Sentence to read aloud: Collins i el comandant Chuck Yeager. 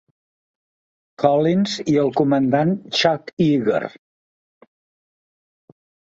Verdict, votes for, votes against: rejected, 1, 2